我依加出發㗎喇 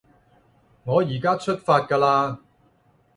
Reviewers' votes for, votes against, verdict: 0, 2, rejected